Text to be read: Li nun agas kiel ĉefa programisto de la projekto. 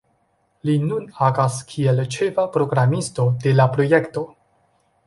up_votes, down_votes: 1, 2